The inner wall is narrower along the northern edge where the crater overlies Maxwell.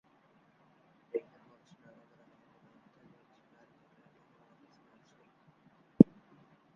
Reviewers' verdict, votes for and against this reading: rejected, 0, 2